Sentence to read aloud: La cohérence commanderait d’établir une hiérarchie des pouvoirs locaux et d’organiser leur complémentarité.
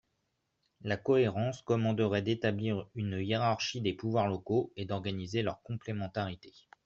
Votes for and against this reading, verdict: 2, 0, accepted